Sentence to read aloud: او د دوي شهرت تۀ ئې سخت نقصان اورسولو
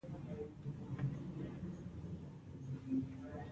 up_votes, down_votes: 0, 2